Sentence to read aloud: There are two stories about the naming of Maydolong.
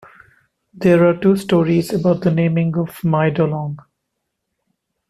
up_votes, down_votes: 1, 2